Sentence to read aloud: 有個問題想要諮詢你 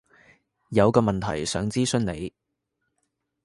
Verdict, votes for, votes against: rejected, 1, 2